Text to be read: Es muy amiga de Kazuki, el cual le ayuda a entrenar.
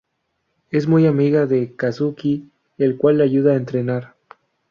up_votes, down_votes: 2, 0